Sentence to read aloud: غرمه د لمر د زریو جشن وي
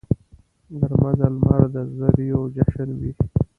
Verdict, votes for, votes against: rejected, 0, 2